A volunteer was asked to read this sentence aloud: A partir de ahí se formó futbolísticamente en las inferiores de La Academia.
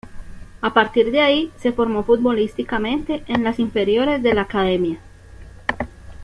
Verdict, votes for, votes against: accepted, 2, 0